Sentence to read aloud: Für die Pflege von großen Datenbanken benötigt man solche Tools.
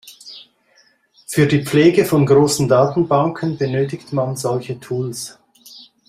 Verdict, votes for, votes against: accepted, 2, 0